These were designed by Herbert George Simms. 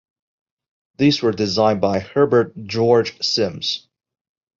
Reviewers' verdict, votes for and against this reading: accepted, 2, 0